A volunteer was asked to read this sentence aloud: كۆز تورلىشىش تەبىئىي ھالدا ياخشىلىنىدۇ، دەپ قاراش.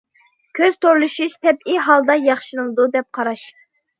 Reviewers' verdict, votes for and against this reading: accepted, 2, 0